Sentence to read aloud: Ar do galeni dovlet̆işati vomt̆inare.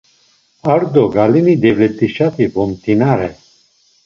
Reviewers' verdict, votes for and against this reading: rejected, 1, 2